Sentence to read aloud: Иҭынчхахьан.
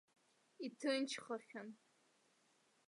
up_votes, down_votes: 1, 2